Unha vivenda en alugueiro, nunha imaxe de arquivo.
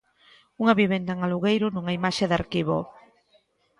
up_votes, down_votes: 2, 0